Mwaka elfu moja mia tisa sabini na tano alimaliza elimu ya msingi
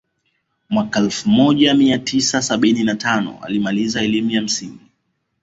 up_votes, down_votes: 2, 0